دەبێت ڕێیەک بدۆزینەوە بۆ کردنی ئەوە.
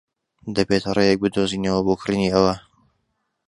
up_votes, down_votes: 1, 2